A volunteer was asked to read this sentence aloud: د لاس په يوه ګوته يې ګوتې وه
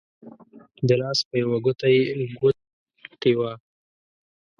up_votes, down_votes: 1, 2